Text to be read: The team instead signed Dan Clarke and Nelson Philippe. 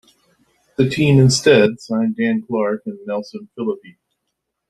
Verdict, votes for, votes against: rejected, 1, 2